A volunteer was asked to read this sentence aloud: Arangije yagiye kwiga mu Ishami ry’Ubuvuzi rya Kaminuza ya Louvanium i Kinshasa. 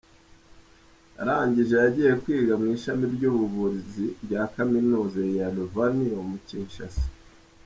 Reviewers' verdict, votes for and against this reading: accepted, 2, 0